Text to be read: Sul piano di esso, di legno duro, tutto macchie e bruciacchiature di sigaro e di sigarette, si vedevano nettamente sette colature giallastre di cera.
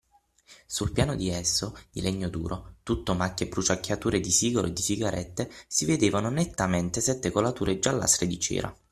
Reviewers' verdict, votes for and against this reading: accepted, 6, 0